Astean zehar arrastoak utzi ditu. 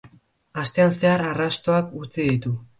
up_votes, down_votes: 5, 0